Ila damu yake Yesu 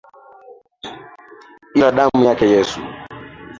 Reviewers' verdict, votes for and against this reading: accepted, 2, 0